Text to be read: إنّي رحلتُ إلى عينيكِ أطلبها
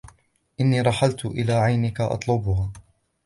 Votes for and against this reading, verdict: 2, 0, accepted